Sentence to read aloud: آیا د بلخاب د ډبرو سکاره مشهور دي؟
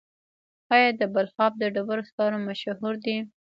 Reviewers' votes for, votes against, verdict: 2, 0, accepted